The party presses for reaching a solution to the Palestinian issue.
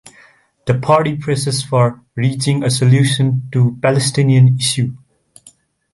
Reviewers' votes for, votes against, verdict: 2, 1, accepted